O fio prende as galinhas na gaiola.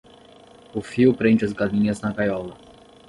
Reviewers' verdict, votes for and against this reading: rejected, 5, 5